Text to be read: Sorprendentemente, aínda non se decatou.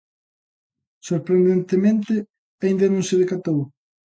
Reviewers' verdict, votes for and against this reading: accepted, 2, 0